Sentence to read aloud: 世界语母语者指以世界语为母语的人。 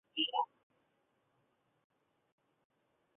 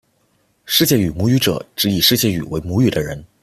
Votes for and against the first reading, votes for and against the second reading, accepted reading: 1, 2, 2, 0, second